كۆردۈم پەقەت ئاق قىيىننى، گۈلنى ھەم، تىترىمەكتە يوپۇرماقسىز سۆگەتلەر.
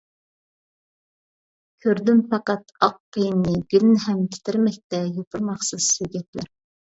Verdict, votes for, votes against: accepted, 2, 0